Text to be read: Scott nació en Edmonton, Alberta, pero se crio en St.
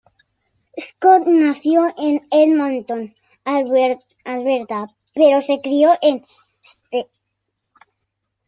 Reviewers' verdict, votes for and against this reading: rejected, 0, 2